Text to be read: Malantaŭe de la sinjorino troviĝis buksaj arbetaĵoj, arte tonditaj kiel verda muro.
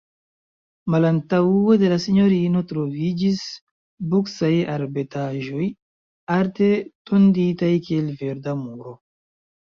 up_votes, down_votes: 2, 0